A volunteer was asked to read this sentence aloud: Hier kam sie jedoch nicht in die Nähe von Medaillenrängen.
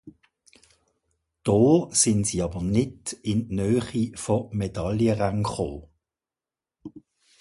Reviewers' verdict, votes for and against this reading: rejected, 0, 2